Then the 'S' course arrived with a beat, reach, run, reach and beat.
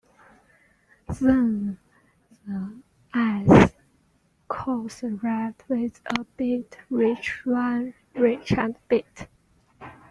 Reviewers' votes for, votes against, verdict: 0, 2, rejected